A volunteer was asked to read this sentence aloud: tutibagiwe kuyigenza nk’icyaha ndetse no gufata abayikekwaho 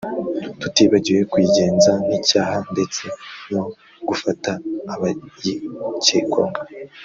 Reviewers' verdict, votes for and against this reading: rejected, 0, 2